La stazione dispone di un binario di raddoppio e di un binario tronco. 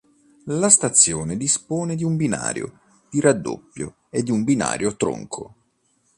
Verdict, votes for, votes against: accepted, 2, 0